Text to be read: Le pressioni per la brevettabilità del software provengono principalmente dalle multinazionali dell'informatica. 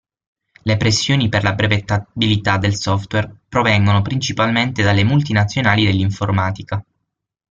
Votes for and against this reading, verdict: 6, 3, accepted